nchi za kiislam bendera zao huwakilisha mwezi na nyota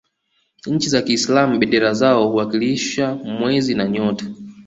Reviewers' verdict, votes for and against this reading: accepted, 2, 0